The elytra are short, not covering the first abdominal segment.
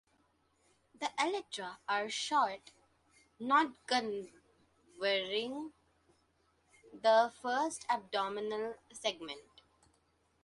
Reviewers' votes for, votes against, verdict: 0, 2, rejected